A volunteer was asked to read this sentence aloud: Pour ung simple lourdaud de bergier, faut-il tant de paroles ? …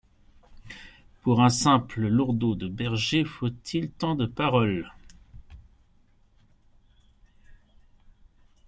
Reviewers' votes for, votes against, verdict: 2, 0, accepted